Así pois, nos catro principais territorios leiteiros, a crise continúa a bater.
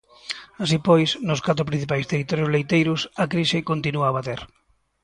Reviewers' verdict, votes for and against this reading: accepted, 2, 0